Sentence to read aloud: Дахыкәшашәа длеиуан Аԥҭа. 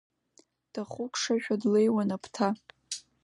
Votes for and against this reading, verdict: 2, 0, accepted